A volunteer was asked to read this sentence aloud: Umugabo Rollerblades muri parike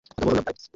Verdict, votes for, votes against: rejected, 0, 2